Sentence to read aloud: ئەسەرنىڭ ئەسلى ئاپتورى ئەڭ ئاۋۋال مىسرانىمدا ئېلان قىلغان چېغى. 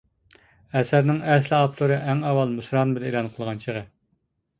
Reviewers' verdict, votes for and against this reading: rejected, 1, 2